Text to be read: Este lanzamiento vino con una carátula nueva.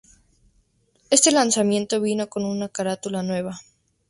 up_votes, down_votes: 2, 0